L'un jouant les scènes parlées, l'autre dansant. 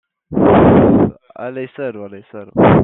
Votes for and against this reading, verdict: 0, 2, rejected